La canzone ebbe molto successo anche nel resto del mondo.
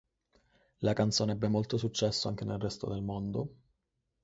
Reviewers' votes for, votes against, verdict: 4, 0, accepted